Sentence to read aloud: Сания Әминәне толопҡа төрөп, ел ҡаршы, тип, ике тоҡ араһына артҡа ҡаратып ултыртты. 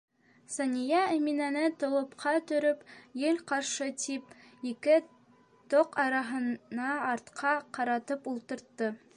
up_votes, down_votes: 2, 0